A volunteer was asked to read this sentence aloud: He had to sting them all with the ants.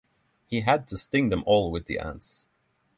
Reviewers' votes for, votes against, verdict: 3, 0, accepted